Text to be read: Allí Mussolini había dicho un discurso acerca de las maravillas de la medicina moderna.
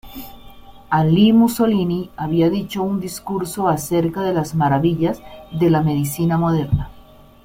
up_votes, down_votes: 1, 2